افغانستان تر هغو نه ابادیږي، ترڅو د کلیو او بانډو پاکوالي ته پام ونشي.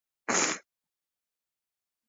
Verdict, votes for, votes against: rejected, 1, 2